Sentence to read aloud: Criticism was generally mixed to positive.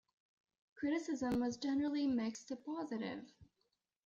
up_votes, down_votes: 2, 0